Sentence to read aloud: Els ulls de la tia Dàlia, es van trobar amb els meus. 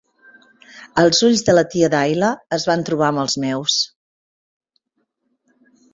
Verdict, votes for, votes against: rejected, 0, 2